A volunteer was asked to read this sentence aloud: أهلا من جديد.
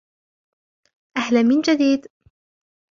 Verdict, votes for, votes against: accepted, 2, 0